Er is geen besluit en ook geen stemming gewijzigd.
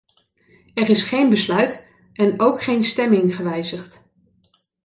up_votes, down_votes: 2, 0